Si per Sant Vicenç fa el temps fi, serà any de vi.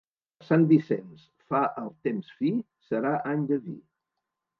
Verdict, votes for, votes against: rejected, 1, 2